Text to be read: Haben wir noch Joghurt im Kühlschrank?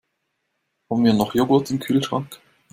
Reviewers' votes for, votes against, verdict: 2, 0, accepted